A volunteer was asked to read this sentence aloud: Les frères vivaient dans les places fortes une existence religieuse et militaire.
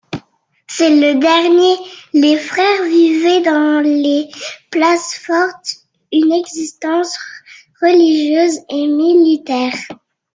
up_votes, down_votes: 0, 2